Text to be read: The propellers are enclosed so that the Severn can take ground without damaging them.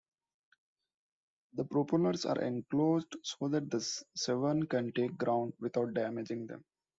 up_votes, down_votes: 2, 0